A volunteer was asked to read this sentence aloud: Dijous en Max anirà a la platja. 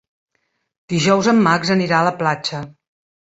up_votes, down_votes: 3, 0